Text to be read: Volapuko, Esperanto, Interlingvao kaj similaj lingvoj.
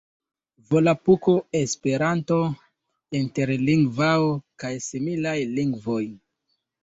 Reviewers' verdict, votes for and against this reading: accepted, 2, 0